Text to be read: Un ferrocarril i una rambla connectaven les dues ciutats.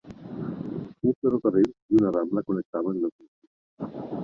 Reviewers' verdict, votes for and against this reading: rejected, 0, 2